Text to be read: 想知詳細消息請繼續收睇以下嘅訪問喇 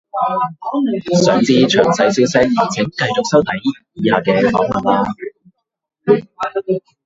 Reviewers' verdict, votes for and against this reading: rejected, 0, 2